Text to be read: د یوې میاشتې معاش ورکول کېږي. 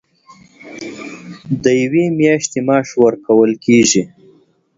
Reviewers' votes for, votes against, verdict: 1, 2, rejected